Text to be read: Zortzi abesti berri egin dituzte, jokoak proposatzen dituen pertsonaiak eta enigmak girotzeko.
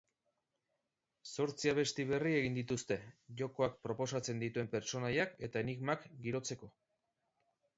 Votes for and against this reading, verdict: 2, 0, accepted